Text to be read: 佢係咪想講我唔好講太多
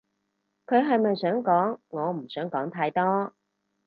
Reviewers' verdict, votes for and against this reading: rejected, 0, 4